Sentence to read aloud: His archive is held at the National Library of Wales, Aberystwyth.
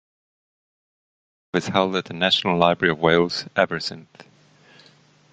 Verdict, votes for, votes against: rejected, 1, 2